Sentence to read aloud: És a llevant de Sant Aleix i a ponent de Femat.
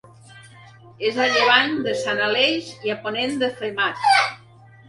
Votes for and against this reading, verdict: 2, 1, accepted